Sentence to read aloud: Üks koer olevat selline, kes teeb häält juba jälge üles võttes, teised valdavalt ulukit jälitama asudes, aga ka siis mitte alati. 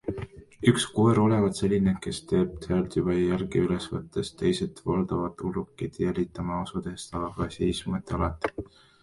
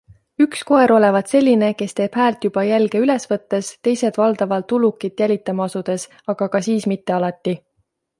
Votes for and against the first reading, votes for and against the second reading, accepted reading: 1, 2, 2, 0, second